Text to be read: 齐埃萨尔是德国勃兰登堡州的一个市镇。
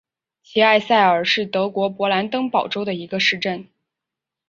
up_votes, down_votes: 2, 1